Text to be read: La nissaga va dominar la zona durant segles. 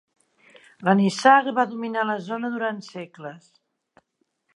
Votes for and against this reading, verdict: 2, 0, accepted